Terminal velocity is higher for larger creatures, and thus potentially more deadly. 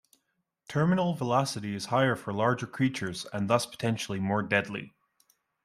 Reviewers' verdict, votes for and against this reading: accepted, 2, 0